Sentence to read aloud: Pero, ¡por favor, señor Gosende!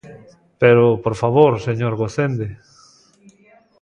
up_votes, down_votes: 0, 2